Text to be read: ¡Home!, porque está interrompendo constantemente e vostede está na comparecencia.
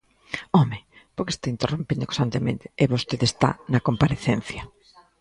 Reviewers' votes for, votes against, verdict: 2, 0, accepted